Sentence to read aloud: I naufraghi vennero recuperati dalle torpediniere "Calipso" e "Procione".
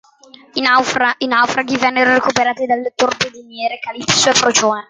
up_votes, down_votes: 0, 2